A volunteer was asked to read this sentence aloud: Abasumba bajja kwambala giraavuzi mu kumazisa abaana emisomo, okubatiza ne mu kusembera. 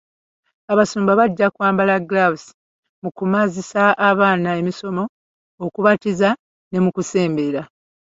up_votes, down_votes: 1, 2